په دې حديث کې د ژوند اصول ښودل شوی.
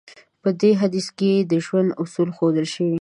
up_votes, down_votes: 2, 0